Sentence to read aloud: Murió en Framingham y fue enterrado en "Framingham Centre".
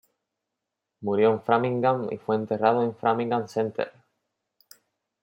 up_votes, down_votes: 2, 0